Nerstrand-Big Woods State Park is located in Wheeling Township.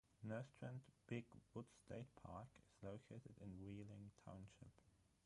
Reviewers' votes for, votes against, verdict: 0, 3, rejected